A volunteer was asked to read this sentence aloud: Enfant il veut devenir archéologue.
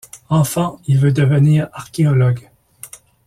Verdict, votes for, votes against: accepted, 2, 0